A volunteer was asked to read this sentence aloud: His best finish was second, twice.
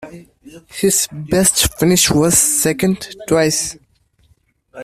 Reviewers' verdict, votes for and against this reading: accepted, 2, 0